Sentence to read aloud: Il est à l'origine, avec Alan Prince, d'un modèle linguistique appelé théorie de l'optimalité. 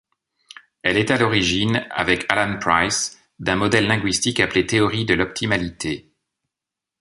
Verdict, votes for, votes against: rejected, 0, 2